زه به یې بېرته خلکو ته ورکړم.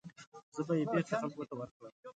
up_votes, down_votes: 2, 0